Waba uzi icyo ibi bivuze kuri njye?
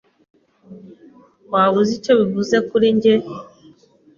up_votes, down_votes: 1, 2